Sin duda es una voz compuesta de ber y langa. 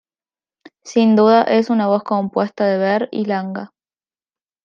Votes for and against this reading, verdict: 2, 0, accepted